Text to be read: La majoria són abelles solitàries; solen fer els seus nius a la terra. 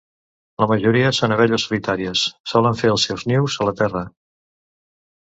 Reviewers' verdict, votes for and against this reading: accepted, 2, 0